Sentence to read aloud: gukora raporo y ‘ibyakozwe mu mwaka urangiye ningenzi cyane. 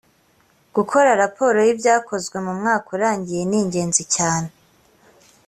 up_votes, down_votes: 2, 0